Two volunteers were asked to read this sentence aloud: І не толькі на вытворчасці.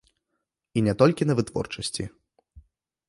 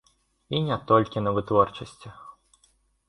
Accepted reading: first